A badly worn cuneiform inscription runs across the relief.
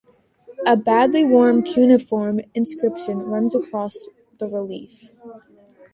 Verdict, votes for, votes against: accepted, 2, 0